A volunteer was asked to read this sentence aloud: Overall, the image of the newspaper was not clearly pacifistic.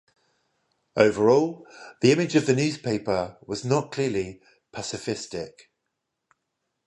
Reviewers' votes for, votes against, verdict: 0, 5, rejected